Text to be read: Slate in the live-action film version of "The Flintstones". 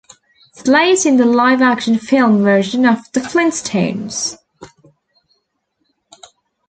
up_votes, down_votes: 2, 0